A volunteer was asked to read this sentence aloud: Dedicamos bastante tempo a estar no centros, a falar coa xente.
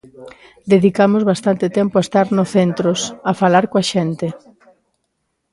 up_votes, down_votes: 2, 0